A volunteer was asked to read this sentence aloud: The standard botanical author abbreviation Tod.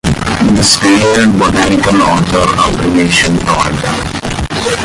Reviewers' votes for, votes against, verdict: 0, 2, rejected